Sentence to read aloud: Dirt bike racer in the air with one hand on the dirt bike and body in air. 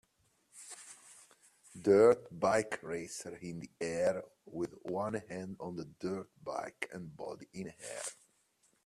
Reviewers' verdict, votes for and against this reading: accepted, 2, 0